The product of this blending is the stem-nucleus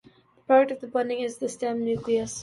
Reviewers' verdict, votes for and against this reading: rejected, 1, 2